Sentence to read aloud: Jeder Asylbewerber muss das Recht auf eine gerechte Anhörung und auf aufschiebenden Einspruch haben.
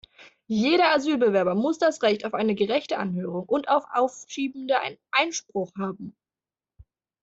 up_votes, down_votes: 0, 2